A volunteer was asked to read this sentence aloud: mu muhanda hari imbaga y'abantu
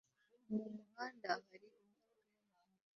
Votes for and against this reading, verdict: 0, 2, rejected